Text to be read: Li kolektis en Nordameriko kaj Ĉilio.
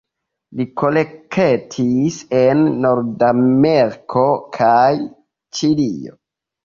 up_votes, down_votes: 3, 0